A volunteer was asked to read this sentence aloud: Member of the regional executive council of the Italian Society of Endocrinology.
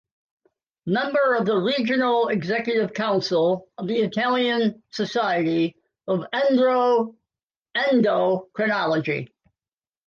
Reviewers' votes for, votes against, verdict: 0, 2, rejected